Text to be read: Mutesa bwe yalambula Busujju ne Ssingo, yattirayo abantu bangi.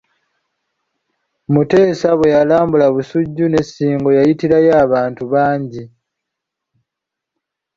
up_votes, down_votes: 0, 2